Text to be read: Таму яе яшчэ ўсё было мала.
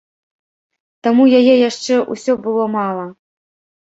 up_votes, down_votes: 2, 0